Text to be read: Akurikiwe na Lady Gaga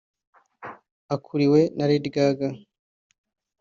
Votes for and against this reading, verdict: 1, 2, rejected